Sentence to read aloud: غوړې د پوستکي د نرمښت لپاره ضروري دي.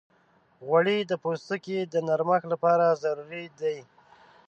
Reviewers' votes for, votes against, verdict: 2, 0, accepted